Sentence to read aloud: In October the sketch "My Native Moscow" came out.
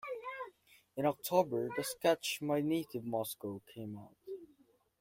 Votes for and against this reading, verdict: 0, 2, rejected